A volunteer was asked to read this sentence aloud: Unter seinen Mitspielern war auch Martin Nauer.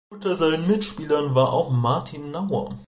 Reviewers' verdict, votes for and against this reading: accepted, 2, 0